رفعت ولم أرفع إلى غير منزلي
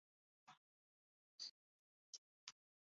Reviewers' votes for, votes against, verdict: 0, 2, rejected